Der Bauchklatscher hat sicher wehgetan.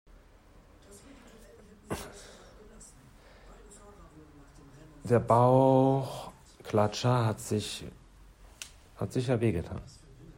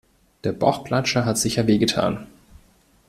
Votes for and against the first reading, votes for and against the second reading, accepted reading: 0, 2, 2, 0, second